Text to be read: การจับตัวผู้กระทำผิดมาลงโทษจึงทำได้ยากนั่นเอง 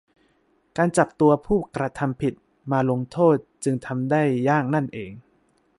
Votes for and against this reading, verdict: 2, 0, accepted